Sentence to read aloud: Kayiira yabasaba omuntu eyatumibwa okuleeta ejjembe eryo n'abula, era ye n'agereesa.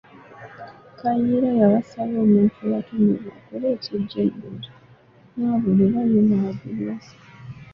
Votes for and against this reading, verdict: 0, 2, rejected